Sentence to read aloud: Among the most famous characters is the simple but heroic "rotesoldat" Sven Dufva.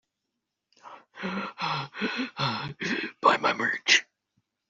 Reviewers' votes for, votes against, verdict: 0, 2, rejected